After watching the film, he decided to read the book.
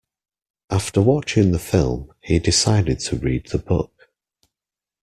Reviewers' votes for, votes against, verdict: 2, 0, accepted